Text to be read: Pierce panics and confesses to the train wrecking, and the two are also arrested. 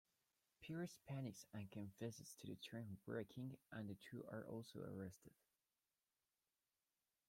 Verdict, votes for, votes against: accepted, 2, 0